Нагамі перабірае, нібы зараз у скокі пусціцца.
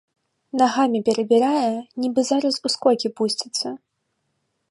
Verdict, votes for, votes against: accepted, 3, 0